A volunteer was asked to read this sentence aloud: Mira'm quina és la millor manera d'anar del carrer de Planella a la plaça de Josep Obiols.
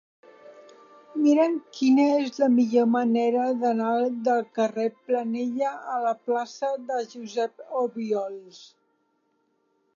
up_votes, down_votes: 0, 2